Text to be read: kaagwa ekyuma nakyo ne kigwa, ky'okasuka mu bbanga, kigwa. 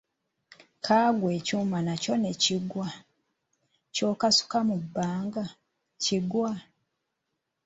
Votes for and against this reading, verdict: 0, 2, rejected